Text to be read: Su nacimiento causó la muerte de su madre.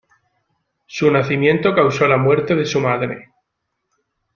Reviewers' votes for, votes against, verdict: 2, 0, accepted